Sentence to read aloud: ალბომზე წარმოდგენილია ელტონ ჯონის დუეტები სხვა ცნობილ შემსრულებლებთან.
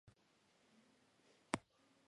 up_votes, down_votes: 0, 2